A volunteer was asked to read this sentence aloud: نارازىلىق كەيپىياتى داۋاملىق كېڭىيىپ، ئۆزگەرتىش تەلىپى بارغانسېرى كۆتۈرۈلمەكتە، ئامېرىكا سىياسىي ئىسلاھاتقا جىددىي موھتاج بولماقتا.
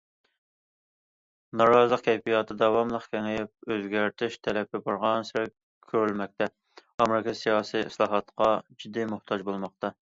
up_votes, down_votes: 1, 2